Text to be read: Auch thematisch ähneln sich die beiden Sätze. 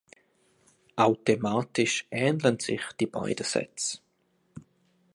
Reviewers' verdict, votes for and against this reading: accepted, 2, 0